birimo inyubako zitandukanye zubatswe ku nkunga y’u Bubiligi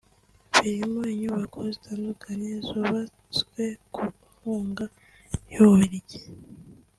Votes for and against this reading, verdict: 3, 0, accepted